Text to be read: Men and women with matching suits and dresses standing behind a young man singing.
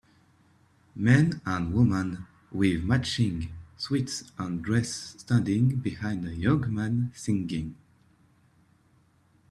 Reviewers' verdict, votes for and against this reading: rejected, 1, 2